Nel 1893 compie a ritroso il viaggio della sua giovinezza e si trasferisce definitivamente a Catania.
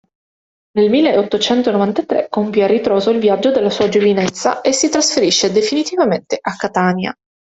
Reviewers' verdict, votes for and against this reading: rejected, 0, 2